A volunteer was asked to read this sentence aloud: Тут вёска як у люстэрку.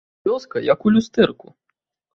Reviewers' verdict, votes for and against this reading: rejected, 1, 2